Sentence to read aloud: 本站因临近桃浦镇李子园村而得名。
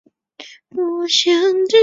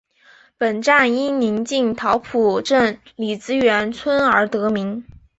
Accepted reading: second